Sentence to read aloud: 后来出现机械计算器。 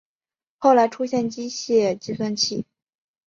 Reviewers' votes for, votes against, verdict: 4, 0, accepted